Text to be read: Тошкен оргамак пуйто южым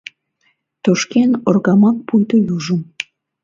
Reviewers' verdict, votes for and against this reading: accepted, 2, 0